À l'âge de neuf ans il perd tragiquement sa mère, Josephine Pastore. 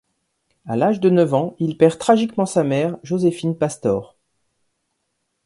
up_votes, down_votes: 2, 0